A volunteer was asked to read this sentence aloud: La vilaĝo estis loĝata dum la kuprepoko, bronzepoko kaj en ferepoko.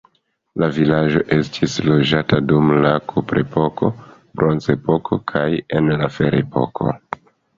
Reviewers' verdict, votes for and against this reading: rejected, 1, 2